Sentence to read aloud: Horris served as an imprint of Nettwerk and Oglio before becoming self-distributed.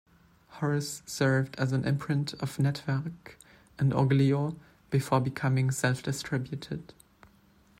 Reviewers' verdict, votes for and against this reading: accepted, 2, 1